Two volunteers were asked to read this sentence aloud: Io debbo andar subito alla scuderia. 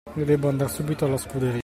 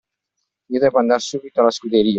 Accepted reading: second